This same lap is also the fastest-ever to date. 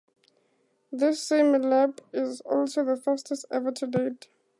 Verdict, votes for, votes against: accepted, 4, 0